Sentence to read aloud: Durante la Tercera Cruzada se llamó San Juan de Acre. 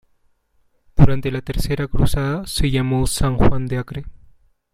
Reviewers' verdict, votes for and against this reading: accepted, 2, 0